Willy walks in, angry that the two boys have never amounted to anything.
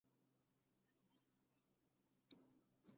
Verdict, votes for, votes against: rejected, 0, 2